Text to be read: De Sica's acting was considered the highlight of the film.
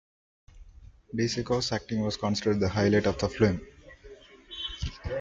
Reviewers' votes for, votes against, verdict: 2, 1, accepted